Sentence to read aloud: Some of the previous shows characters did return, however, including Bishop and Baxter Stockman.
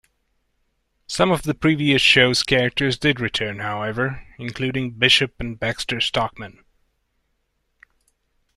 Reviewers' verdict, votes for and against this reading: accepted, 2, 0